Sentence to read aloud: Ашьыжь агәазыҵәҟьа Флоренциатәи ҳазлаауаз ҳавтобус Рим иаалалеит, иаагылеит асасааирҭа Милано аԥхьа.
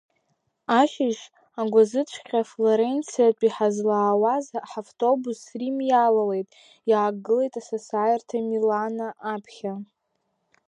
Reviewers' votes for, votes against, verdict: 0, 2, rejected